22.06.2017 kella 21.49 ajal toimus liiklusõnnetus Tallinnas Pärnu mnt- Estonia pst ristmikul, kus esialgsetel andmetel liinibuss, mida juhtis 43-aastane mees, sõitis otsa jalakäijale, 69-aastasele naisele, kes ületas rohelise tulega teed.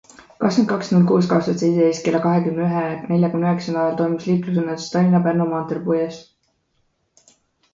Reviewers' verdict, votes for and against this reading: rejected, 0, 2